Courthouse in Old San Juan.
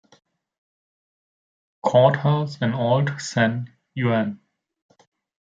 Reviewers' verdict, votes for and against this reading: rejected, 1, 2